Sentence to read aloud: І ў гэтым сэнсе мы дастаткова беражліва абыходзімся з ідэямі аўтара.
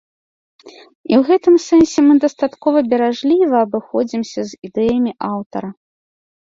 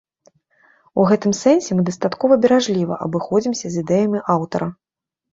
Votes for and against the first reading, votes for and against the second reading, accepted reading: 2, 0, 0, 2, first